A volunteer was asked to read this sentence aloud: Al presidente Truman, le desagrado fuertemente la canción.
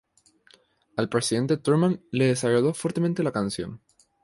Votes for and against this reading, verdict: 4, 0, accepted